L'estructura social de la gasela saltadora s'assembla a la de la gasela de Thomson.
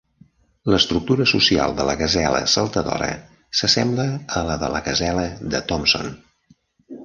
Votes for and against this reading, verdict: 2, 0, accepted